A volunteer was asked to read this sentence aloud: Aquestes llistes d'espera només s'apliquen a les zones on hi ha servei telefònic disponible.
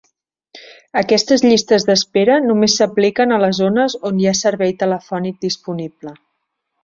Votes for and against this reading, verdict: 3, 0, accepted